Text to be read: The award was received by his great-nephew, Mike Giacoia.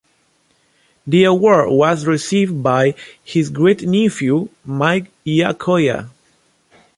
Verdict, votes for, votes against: rejected, 1, 2